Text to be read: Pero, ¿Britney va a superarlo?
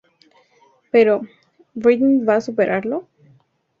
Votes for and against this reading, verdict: 2, 0, accepted